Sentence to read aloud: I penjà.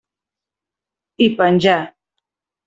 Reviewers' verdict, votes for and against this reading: accepted, 2, 0